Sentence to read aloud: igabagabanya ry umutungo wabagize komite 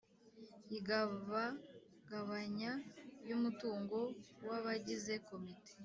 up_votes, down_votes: 1, 2